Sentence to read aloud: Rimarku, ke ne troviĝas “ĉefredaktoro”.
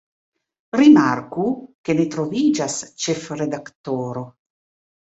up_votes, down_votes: 0, 2